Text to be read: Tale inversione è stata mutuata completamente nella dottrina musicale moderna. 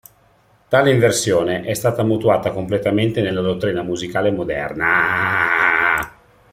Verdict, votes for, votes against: rejected, 0, 2